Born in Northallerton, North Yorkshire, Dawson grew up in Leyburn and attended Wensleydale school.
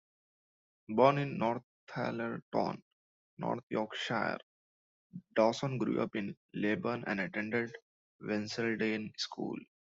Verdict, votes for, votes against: rejected, 1, 2